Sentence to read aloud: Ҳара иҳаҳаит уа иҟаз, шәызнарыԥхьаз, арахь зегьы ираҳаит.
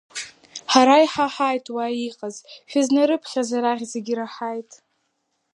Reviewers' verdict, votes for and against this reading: accepted, 2, 0